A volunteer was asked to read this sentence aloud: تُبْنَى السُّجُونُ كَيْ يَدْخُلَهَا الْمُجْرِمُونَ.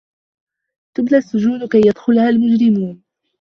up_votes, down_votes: 2, 1